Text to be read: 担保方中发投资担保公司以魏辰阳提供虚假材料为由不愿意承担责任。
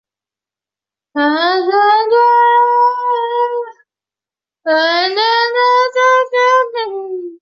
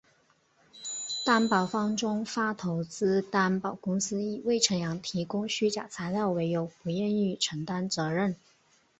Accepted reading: second